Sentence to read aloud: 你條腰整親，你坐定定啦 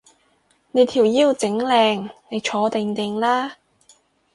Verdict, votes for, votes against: rejected, 2, 4